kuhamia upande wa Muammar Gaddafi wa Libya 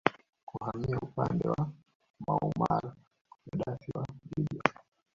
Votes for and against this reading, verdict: 0, 2, rejected